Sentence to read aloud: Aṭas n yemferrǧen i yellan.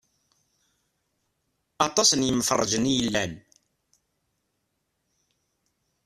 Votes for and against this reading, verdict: 2, 1, accepted